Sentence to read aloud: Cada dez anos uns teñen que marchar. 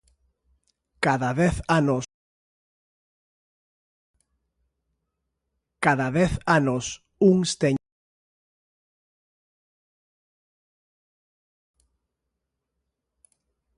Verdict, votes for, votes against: rejected, 0, 3